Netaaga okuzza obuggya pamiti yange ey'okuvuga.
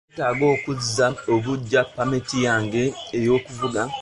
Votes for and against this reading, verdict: 1, 2, rejected